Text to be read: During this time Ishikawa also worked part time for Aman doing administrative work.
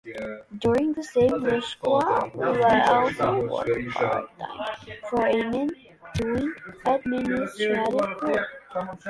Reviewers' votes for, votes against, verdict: 0, 2, rejected